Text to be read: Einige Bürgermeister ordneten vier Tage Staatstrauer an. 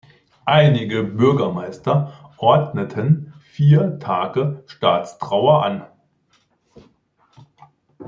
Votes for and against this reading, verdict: 2, 1, accepted